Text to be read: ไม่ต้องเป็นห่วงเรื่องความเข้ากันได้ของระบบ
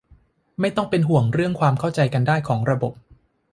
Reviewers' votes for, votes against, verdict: 1, 2, rejected